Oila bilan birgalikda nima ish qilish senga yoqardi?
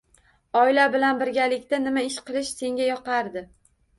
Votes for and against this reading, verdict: 2, 1, accepted